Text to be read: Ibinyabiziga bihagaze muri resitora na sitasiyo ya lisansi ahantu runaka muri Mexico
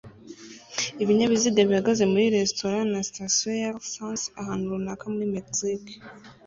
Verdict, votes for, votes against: rejected, 1, 2